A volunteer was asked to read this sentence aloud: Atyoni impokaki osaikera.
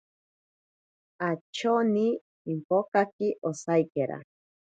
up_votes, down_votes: 0, 2